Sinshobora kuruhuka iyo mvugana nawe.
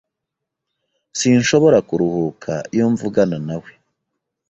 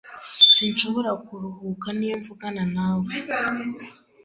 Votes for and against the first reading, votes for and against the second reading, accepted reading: 2, 0, 1, 2, first